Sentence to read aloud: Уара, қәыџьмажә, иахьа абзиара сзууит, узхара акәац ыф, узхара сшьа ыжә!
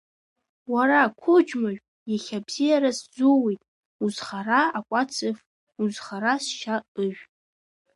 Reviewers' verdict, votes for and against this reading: accepted, 2, 0